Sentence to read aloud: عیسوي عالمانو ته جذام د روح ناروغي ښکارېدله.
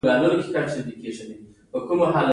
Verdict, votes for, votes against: rejected, 1, 2